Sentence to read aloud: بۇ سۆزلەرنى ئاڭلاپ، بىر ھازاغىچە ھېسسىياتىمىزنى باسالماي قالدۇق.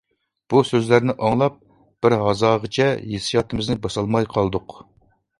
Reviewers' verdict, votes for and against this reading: accepted, 2, 0